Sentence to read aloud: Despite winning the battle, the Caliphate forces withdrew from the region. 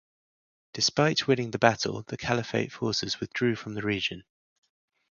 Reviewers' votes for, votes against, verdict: 0, 2, rejected